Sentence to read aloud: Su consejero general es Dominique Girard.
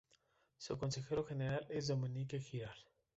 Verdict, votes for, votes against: rejected, 0, 2